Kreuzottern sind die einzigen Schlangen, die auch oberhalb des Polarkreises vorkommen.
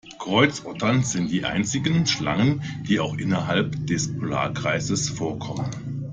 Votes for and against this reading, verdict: 0, 2, rejected